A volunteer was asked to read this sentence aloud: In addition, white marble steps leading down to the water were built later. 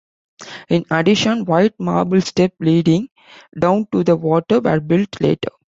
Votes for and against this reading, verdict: 1, 2, rejected